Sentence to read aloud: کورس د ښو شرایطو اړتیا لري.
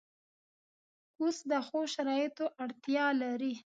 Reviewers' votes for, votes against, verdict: 1, 2, rejected